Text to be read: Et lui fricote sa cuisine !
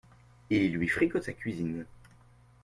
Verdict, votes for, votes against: accepted, 2, 1